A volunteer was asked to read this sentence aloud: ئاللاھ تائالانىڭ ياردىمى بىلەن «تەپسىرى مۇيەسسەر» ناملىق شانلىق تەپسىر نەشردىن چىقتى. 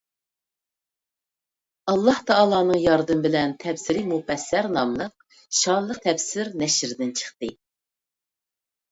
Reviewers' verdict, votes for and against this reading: rejected, 1, 2